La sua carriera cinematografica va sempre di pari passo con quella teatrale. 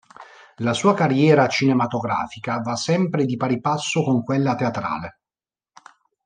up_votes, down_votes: 2, 0